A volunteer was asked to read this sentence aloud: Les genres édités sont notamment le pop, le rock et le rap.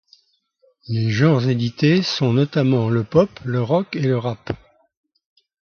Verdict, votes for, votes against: accepted, 2, 0